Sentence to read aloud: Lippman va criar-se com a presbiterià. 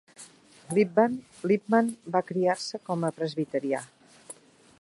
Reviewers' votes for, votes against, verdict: 0, 2, rejected